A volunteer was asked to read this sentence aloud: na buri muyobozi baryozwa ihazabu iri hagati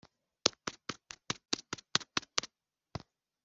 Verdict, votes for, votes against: rejected, 0, 2